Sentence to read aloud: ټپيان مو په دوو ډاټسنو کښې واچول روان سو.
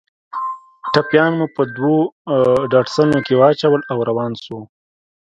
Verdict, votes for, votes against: rejected, 1, 2